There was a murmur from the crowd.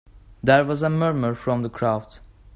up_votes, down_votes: 2, 0